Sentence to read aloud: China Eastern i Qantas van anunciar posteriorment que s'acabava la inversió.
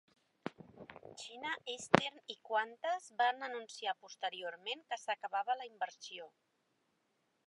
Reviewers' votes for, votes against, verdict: 1, 2, rejected